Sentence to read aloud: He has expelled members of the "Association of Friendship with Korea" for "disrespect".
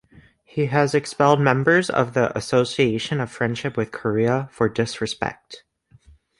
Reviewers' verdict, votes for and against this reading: accepted, 2, 0